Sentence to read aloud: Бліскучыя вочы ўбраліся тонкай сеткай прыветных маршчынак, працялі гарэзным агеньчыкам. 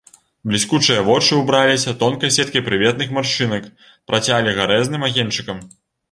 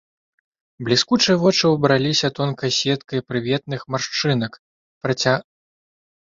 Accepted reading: first